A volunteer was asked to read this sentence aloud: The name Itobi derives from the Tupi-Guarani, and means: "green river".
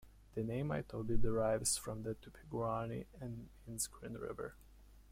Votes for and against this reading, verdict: 1, 2, rejected